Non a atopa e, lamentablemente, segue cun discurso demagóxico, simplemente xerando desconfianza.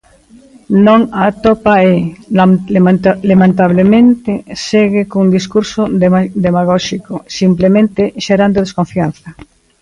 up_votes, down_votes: 0, 2